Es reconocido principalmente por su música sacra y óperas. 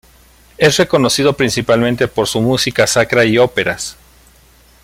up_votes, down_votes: 1, 2